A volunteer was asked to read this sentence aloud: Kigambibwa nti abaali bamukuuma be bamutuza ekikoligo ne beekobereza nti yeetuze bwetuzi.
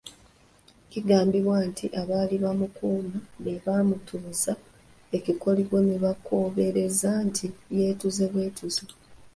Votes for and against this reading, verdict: 3, 1, accepted